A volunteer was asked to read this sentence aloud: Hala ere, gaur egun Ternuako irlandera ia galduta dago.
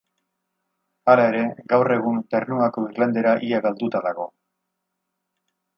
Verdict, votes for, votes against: accepted, 4, 0